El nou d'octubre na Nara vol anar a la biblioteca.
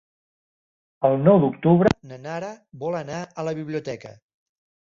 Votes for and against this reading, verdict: 1, 2, rejected